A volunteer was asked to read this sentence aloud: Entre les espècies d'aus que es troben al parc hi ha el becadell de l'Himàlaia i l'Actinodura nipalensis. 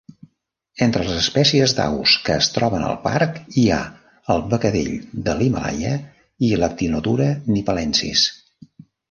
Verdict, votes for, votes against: accepted, 2, 0